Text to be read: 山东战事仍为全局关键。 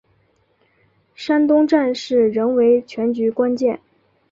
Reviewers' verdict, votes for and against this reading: accepted, 2, 0